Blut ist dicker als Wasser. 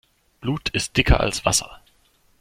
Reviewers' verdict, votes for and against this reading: accepted, 2, 0